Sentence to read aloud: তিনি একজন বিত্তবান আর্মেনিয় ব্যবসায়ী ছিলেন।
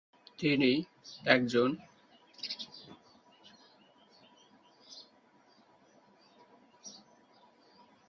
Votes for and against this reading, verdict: 1, 10, rejected